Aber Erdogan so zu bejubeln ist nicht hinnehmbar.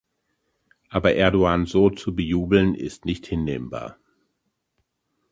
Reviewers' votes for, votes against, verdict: 1, 2, rejected